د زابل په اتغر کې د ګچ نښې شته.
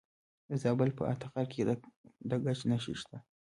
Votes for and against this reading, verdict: 0, 2, rejected